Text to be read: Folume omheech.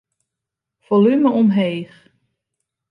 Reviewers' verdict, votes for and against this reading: accepted, 2, 0